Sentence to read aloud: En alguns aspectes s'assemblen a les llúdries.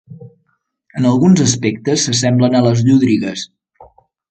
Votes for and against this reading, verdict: 1, 2, rejected